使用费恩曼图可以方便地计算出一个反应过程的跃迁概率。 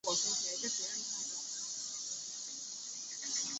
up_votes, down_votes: 0, 2